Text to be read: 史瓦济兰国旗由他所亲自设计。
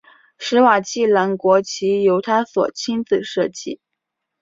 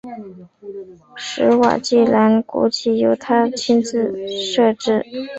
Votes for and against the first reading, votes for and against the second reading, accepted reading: 3, 0, 1, 2, first